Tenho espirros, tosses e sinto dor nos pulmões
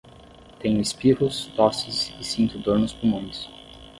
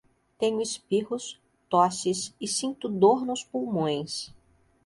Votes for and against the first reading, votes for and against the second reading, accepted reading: 0, 5, 2, 0, second